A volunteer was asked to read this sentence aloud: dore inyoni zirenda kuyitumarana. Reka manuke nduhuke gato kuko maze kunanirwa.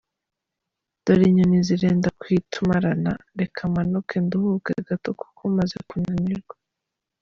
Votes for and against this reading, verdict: 2, 1, accepted